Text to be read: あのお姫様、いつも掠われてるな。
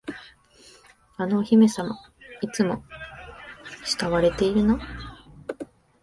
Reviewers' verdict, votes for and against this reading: rejected, 1, 2